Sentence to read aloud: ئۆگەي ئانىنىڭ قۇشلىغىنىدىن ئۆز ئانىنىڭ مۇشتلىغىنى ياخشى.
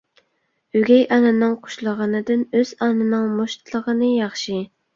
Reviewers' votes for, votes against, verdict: 2, 0, accepted